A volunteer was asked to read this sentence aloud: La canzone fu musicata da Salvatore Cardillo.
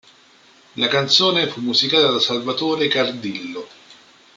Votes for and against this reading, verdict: 3, 1, accepted